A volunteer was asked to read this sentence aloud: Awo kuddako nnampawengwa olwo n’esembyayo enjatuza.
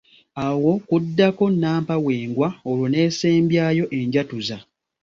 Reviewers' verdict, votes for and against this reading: accepted, 2, 0